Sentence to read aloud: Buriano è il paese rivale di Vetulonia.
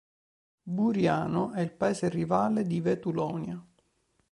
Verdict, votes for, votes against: accepted, 3, 0